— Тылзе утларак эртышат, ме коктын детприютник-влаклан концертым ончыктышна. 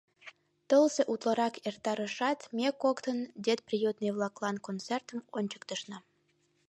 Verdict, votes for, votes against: rejected, 3, 4